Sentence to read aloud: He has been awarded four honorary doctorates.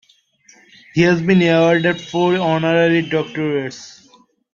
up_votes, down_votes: 2, 0